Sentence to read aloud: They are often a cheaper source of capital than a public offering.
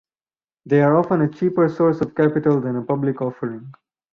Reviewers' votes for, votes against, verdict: 4, 0, accepted